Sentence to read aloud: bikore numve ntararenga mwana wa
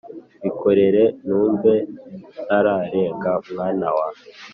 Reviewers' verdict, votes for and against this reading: rejected, 1, 2